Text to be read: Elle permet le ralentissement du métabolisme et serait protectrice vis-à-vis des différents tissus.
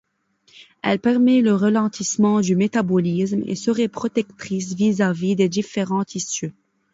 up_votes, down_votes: 3, 2